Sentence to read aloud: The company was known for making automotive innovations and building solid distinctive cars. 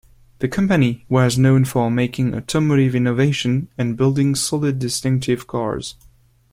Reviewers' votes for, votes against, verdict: 1, 2, rejected